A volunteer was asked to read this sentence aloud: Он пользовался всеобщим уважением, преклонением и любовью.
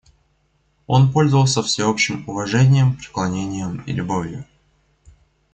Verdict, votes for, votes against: accepted, 2, 0